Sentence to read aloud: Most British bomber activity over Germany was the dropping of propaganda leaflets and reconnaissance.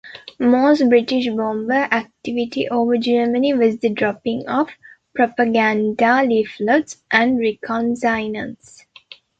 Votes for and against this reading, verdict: 1, 2, rejected